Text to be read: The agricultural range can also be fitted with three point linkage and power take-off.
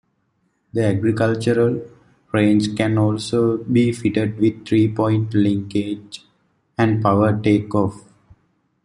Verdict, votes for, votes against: accepted, 2, 0